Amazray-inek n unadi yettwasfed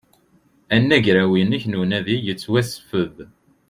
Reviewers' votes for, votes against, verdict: 0, 2, rejected